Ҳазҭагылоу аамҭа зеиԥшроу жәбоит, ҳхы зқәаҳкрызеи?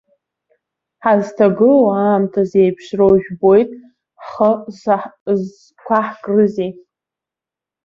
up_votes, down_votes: 1, 2